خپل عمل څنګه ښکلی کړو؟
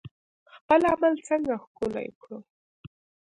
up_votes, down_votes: 0, 2